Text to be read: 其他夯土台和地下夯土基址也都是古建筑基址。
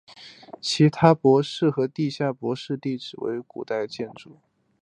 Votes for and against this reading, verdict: 3, 1, accepted